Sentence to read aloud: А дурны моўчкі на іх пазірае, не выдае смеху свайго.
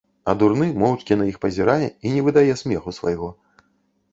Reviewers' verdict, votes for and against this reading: rejected, 0, 2